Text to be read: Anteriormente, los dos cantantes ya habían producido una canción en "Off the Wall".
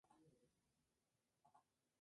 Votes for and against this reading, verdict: 0, 2, rejected